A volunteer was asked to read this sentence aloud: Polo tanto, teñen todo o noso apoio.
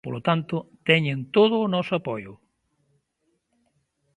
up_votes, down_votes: 2, 1